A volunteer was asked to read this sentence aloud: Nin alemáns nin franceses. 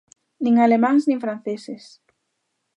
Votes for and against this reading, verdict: 2, 0, accepted